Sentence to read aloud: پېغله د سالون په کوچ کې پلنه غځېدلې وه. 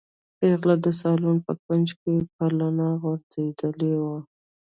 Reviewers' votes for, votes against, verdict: 1, 2, rejected